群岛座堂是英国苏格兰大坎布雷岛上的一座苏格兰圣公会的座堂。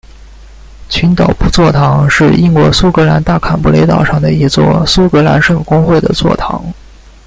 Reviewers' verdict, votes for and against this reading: rejected, 0, 2